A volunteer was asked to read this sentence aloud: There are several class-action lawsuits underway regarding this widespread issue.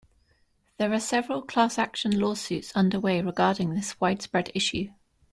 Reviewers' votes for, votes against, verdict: 2, 0, accepted